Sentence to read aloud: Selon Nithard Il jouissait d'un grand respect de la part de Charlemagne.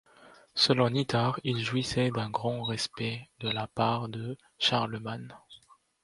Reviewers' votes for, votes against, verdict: 1, 2, rejected